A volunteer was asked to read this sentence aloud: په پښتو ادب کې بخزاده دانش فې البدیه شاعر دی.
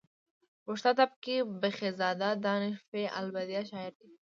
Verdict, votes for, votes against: rejected, 0, 2